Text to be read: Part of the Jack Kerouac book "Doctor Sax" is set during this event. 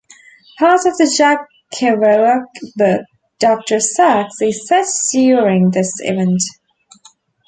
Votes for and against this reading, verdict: 1, 2, rejected